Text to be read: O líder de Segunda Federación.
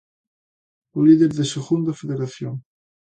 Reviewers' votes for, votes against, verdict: 2, 0, accepted